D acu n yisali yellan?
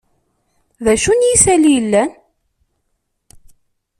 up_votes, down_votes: 2, 0